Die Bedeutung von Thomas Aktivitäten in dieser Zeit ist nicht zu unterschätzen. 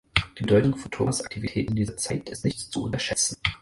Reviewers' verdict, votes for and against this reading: accepted, 4, 2